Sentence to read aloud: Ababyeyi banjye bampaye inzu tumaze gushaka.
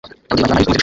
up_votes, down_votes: 0, 3